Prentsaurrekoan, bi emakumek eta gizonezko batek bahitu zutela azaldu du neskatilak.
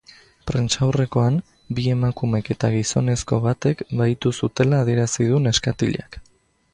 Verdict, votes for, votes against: rejected, 0, 2